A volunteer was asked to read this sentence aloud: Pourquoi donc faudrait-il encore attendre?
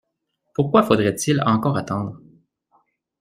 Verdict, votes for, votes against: rejected, 0, 2